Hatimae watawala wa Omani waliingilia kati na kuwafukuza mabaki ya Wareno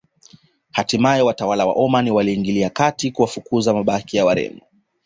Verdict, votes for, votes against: accepted, 2, 1